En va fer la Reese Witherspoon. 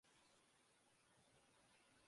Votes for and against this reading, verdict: 0, 2, rejected